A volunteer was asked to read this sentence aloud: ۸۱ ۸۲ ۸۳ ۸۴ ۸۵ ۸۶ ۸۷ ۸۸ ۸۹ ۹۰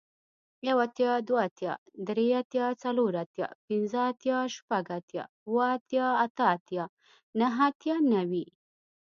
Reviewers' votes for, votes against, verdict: 0, 2, rejected